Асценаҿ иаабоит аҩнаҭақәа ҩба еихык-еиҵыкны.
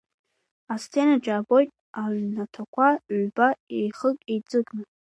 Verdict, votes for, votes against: accepted, 2, 0